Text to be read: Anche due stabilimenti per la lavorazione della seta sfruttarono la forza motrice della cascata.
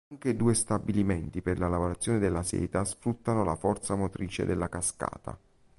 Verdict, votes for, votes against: rejected, 1, 2